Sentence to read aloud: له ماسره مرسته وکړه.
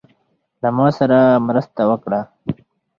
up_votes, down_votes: 2, 4